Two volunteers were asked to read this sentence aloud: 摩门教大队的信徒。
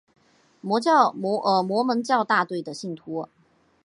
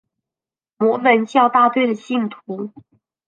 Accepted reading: second